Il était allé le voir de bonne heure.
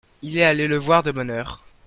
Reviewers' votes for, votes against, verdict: 0, 2, rejected